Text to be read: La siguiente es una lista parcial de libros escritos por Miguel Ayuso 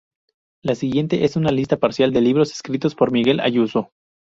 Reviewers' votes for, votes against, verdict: 2, 0, accepted